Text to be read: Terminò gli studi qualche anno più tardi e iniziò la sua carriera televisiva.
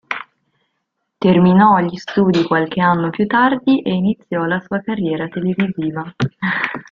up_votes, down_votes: 2, 0